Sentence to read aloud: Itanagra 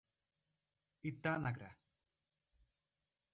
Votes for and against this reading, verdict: 1, 2, rejected